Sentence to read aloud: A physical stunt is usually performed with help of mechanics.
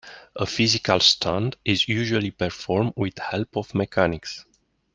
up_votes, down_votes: 2, 0